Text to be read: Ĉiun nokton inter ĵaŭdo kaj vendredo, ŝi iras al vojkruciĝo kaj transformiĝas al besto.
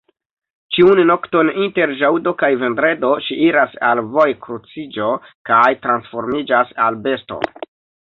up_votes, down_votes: 2, 1